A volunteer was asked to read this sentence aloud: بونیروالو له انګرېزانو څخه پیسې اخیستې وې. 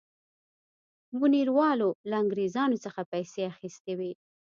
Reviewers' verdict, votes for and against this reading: accepted, 2, 0